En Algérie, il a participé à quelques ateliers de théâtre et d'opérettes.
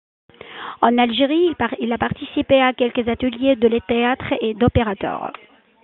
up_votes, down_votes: 1, 2